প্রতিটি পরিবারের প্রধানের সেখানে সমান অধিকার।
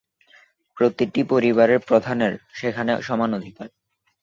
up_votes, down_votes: 4, 0